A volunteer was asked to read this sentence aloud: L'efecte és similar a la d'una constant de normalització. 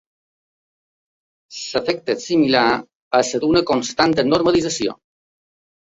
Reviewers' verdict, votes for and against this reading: rejected, 0, 2